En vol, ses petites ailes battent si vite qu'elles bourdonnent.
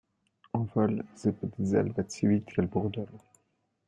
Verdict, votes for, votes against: rejected, 0, 2